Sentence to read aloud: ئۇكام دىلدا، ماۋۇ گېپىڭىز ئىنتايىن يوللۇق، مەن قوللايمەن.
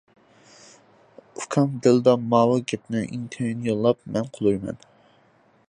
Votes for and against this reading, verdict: 0, 2, rejected